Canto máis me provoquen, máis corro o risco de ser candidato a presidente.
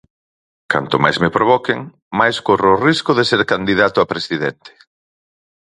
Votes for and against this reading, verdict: 4, 0, accepted